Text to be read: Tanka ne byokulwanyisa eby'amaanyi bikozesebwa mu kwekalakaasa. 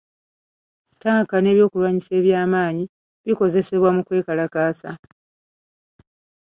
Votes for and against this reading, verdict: 2, 0, accepted